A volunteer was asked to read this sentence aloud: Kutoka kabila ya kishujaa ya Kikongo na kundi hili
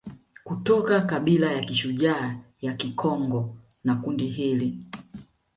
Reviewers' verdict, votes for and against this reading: accepted, 2, 0